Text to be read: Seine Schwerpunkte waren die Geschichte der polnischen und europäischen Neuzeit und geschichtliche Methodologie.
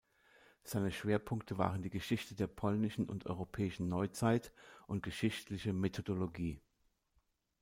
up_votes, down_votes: 2, 0